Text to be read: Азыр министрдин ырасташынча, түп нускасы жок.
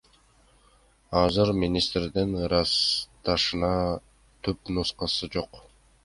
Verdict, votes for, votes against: rejected, 1, 2